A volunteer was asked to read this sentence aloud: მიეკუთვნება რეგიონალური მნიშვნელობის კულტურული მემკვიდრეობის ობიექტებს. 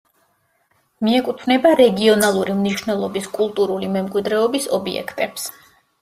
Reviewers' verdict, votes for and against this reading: accepted, 2, 0